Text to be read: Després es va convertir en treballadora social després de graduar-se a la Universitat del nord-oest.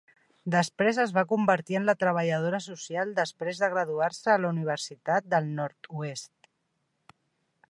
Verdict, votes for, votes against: rejected, 0, 2